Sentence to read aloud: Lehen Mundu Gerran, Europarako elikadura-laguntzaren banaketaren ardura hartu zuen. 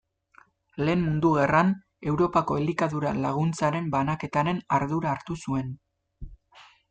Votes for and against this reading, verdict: 1, 2, rejected